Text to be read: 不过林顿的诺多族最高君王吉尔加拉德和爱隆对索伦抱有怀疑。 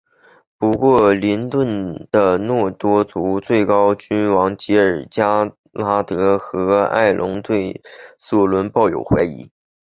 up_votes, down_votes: 3, 0